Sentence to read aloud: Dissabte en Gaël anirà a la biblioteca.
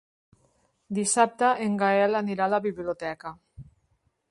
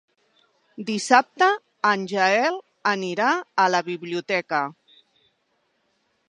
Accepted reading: first